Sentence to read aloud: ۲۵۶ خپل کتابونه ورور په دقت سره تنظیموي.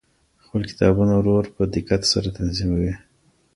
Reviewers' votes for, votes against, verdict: 0, 2, rejected